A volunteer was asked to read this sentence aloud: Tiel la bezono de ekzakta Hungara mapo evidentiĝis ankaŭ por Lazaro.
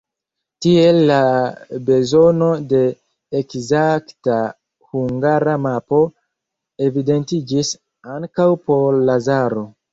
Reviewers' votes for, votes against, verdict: 0, 2, rejected